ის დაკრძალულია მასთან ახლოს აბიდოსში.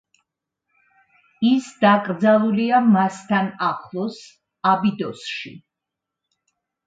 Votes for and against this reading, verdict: 2, 0, accepted